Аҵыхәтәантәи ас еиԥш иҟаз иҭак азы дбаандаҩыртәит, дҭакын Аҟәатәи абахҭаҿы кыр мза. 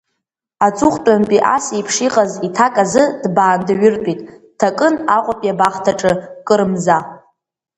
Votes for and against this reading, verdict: 0, 2, rejected